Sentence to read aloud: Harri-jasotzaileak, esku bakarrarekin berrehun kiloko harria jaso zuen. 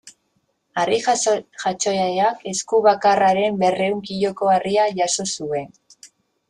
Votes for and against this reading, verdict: 0, 2, rejected